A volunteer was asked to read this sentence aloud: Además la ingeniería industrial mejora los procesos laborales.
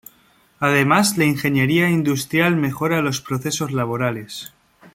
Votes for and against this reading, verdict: 2, 0, accepted